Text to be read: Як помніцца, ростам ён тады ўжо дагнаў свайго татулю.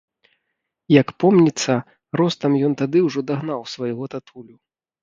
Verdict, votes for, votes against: accepted, 2, 0